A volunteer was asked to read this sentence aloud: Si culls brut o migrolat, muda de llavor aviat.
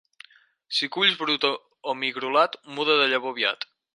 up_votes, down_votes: 4, 2